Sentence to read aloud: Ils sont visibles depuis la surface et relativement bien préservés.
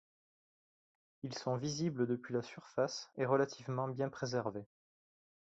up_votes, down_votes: 1, 2